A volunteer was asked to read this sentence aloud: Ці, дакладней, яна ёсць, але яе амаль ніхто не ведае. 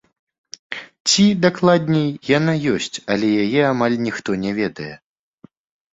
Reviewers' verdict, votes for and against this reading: accepted, 2, 0